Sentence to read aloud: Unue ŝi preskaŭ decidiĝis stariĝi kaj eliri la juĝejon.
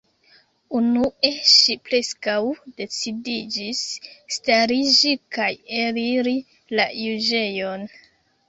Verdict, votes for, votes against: rejected, 0, 2